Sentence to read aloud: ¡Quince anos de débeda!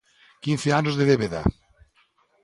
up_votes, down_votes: 2, 0